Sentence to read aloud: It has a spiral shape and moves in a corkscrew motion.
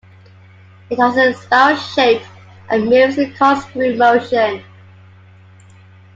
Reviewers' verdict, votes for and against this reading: accepted, 2, 1